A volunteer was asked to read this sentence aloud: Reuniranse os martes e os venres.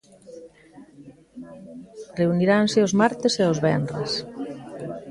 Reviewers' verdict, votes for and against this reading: rejected, 1, 2